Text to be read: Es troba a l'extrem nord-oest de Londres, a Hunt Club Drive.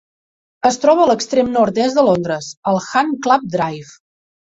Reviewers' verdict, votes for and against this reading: rejected, 1, 2